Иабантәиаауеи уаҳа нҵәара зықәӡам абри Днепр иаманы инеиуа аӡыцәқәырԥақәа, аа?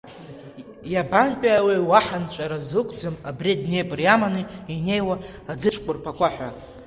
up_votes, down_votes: 0, 2